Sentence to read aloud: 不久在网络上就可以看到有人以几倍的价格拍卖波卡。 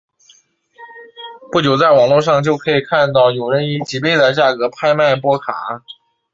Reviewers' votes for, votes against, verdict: 2, 1, accepted